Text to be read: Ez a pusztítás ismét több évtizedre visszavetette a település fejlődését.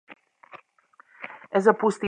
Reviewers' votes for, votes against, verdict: 0, 2, rejected